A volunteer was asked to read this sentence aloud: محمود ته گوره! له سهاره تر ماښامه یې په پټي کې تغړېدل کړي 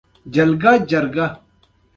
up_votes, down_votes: 2, 1